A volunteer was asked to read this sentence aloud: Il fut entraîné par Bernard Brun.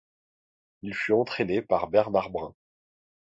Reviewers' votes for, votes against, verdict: 2, 0, accepted